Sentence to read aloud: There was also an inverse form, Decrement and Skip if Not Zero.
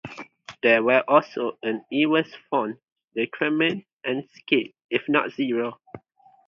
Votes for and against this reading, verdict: 0, 4, rejected